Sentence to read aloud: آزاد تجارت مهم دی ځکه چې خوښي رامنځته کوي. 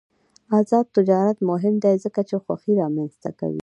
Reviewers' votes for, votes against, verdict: 2, 1, accepted